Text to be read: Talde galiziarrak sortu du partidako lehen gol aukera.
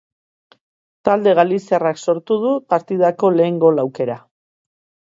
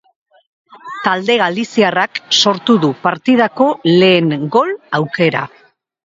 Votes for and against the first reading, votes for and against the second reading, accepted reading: 2, 0, 0, 2, first